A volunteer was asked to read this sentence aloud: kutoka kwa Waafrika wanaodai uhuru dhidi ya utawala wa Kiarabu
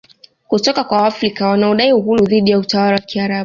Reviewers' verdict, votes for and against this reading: rejected, 1, 2